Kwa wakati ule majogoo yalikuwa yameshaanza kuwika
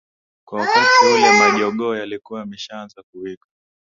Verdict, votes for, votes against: rejected, 0, 2